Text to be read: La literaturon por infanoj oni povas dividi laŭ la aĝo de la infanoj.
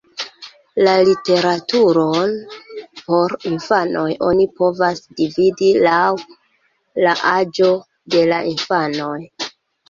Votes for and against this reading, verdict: 2, 1, accepted